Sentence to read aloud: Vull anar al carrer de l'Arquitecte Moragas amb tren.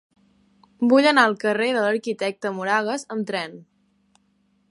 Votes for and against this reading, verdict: 3, 0, accepted